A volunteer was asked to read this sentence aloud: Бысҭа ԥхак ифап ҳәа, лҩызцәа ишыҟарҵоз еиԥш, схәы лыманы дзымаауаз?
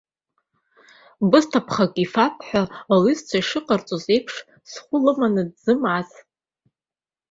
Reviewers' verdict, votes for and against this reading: rejected, 0, 2